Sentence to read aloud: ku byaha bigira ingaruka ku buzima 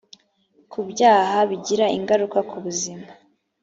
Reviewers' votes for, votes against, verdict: 2, 0, accepted